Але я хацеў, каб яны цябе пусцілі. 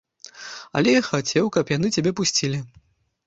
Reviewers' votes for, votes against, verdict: 2, 1, accepted